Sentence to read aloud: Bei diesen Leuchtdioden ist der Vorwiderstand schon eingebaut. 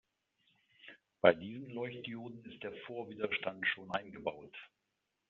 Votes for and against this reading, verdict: 2, 0, accepted